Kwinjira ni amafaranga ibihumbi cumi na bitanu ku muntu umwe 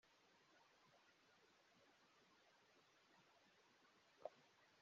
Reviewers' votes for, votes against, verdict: 0, 3, rejected